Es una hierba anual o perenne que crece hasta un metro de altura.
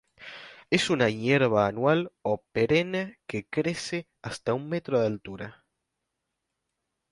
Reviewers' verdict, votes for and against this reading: accepted, 2, 0